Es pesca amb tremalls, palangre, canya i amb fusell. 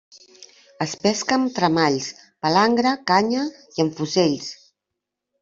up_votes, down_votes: 1, 2